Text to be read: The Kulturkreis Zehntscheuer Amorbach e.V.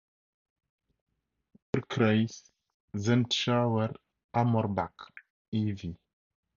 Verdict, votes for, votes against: rejected, 0, 4